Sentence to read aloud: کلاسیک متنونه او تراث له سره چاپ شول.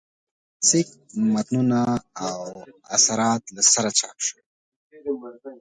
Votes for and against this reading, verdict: 1, 2, rejected